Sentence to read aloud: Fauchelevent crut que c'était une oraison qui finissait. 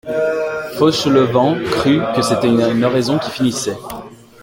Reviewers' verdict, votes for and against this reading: rejected, 1, 2